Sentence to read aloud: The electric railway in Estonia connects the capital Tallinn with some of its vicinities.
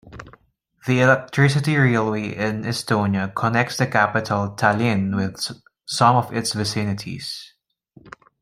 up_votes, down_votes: 1, 2